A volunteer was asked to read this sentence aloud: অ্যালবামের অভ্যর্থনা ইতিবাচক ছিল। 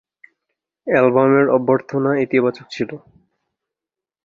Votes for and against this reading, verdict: 1, 2, rejected